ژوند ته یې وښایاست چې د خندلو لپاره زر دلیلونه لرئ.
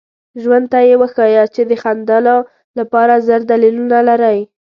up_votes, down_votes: 2, 0